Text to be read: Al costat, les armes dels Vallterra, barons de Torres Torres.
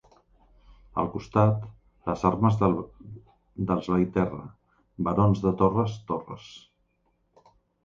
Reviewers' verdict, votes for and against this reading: rejected, 0, 2